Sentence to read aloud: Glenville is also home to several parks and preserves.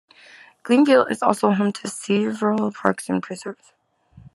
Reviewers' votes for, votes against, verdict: 1, 2, rejected